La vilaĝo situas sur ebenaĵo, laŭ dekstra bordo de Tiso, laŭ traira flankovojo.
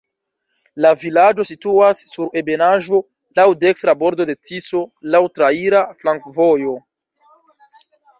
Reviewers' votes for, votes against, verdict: 1, 2, rejected